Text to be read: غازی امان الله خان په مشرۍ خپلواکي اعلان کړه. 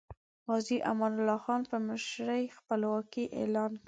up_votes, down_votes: 1, 2